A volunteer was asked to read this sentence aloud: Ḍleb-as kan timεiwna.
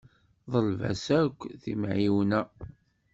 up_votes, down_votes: 1, 2